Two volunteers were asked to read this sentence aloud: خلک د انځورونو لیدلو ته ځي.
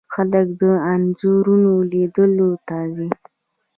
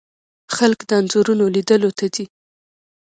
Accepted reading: second